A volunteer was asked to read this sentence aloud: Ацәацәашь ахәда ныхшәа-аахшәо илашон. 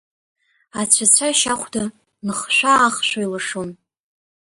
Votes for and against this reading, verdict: 1, 2, rejected